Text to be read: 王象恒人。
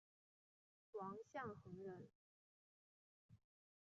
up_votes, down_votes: 2, 1